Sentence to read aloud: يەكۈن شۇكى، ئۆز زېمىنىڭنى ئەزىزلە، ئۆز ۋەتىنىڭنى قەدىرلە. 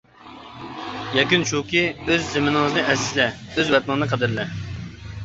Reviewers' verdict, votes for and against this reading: rejected, 1, 2